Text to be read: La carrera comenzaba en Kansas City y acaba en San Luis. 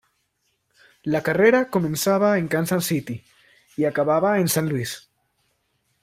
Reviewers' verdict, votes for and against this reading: rejected, 1, 2